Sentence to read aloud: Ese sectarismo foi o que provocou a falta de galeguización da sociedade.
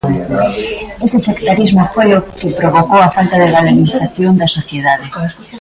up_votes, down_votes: 1, 2